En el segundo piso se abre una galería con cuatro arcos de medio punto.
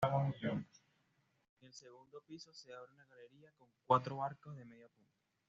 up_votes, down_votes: 1, 2